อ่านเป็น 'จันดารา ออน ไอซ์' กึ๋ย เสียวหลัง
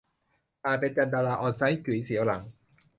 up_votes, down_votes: 1, 2